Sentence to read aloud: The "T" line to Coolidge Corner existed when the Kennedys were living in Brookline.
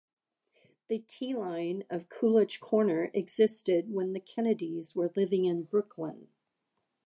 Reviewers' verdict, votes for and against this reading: accepted, 2, 0